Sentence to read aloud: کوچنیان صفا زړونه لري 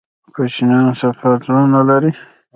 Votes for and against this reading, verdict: 2, 1, accepted